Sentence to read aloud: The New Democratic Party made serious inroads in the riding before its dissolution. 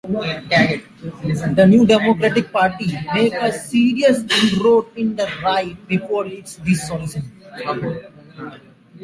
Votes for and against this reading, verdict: 0, 2, rejected